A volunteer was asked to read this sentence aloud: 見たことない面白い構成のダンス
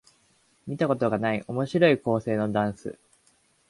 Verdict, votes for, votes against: rejected, 0, 2